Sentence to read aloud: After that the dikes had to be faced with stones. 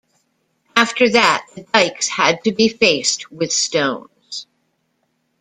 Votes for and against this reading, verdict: 2, 0, accepted